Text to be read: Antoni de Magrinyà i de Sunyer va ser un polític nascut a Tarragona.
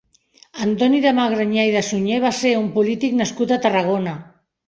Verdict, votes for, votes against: rejected, 2, 3